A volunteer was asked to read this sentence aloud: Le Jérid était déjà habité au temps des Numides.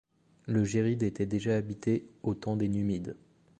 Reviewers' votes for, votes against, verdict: 2, 0, accepted